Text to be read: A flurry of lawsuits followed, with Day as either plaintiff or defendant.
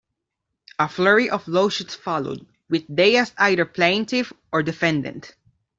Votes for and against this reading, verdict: 0, 2, rejected